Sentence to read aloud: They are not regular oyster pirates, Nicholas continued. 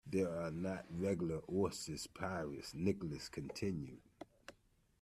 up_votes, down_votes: 1, 2